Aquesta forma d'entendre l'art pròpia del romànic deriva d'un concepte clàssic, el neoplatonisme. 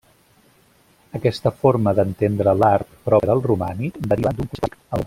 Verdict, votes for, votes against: rejected, 0, 2